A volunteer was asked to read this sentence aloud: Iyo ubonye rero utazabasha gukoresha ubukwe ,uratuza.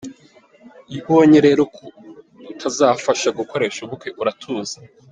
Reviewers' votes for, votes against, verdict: 0, 2, rejected